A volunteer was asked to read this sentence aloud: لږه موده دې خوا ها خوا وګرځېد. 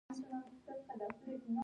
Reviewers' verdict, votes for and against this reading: rejected, 0, 2